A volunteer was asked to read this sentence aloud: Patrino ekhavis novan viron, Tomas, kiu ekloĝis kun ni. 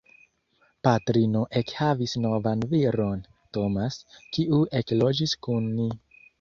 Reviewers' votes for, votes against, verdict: 3, 0, accepted